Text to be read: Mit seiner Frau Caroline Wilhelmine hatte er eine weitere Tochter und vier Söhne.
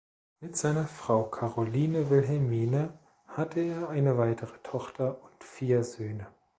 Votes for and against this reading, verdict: 2, 0, accepted